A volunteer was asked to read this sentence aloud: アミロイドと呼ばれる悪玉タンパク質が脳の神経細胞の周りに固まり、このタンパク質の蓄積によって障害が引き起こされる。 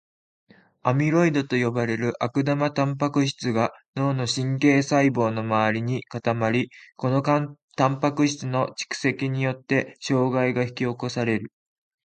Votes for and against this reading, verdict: 1, 2, rejected